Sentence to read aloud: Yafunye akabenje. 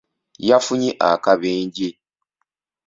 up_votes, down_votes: 2, 0